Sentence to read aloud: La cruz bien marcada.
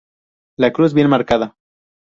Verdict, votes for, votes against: accepted, 2, 0